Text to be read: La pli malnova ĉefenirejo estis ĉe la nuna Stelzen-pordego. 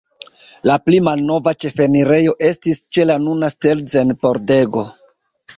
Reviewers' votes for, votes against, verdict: 2, 1, accepted